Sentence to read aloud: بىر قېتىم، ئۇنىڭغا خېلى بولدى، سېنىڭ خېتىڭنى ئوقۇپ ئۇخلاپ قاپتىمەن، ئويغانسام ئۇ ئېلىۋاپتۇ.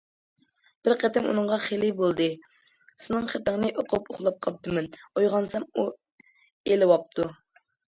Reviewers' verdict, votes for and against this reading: accepted, 2, 0